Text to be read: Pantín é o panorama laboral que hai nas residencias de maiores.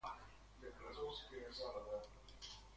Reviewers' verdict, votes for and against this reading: rejected, 0, 2